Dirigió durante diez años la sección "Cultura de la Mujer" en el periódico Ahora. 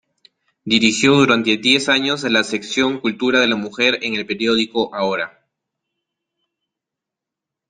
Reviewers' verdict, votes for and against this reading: accepted, 2, 0